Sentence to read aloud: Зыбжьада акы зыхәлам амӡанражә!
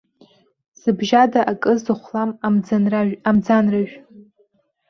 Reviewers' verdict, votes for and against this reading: rejected, 0, 2